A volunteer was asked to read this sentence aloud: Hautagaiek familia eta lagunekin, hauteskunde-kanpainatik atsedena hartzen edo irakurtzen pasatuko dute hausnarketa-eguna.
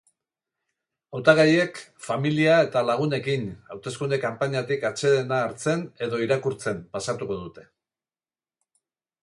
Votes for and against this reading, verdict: 0, 2, rejected